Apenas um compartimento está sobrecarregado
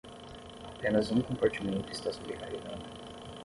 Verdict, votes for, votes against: accepted, 10, 0